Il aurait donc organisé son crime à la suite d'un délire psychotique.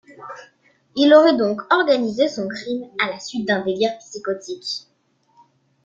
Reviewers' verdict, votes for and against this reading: accepted, 3, 1